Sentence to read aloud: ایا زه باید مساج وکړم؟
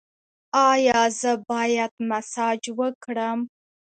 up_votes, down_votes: 2, 0